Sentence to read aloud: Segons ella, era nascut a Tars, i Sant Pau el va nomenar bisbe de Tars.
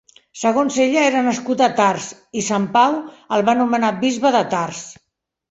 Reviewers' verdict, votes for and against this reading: accepted, 2, 0